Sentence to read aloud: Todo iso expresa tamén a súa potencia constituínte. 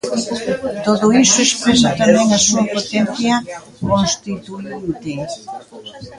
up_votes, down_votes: 0, 2